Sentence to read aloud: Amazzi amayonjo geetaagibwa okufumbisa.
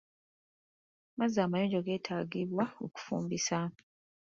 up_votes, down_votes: 2, 1